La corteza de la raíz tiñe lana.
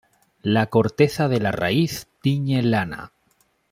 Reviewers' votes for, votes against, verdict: 2, 0, accepted